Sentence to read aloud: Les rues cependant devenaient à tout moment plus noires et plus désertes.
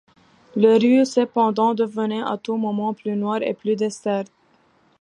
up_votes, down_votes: 2, 0